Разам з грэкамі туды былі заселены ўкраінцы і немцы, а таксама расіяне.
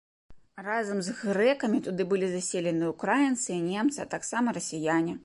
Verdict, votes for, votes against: accepted, 2, 0